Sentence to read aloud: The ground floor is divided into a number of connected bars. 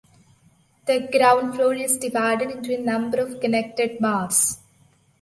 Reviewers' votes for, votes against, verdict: 0, 2, rejected